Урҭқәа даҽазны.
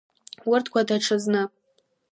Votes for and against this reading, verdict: 2, 0, accepted